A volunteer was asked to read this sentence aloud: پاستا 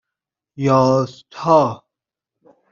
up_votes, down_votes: 0, 2